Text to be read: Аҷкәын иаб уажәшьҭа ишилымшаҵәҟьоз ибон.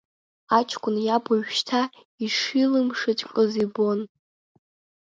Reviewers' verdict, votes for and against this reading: accepted, 2, 0